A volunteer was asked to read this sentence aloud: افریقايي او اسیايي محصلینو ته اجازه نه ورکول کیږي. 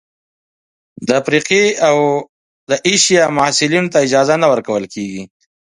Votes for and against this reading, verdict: 4, 0, accepted